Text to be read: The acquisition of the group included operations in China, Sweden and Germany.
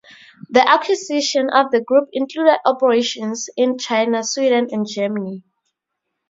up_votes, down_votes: 2, 0